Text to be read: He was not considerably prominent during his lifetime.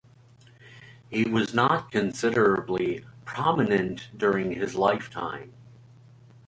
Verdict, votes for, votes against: accepted, 2, 0